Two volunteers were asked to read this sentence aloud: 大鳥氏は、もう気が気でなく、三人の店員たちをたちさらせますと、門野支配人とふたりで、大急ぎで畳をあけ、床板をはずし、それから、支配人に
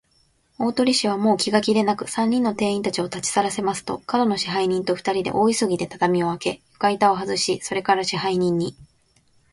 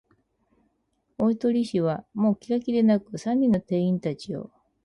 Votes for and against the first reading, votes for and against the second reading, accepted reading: 3, 0, 2, 4, first